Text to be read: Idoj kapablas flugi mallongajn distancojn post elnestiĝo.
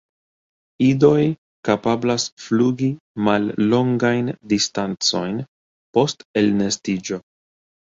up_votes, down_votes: 2, 0